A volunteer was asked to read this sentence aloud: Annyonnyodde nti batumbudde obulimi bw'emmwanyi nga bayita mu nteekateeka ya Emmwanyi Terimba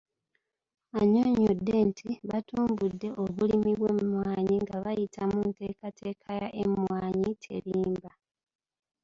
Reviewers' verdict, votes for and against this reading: accepted, 2, 1